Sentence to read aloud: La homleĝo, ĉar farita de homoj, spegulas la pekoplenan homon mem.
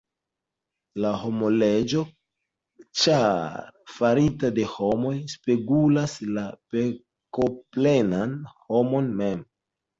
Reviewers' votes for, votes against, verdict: 2, 0, accepted